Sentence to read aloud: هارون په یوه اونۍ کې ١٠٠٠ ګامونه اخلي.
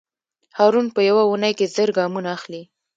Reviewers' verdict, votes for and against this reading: rejected, 0, 2